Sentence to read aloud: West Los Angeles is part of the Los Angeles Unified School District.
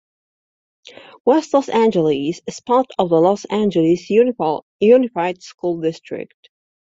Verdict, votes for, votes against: rejected, 1, 2